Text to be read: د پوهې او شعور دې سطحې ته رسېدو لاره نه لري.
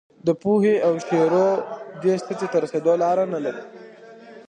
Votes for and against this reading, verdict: 2, 0, accepted